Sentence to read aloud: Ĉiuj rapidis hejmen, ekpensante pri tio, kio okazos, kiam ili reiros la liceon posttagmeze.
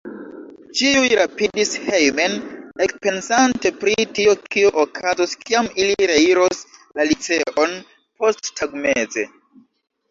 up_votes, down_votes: 1, 2